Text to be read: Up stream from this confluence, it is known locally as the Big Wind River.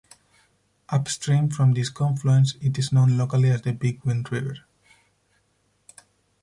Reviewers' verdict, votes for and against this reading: accepted, 4, 0